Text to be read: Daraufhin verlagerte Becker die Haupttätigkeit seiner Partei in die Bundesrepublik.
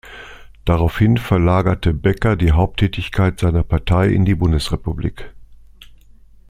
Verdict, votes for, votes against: accepted, 2, 0